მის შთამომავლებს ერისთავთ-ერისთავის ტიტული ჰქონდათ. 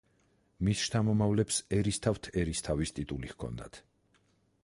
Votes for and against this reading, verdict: 4, 0, accepted